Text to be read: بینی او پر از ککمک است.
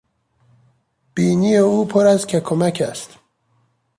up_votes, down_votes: 2, 0